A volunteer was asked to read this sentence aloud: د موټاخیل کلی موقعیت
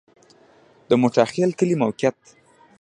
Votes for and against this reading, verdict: 1, 2, rejected